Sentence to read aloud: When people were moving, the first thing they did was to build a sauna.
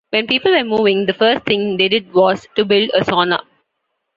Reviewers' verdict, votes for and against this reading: accepted, 2, 0